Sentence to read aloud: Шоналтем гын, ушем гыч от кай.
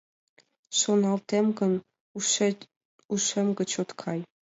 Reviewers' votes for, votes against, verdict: 2, 0, accepted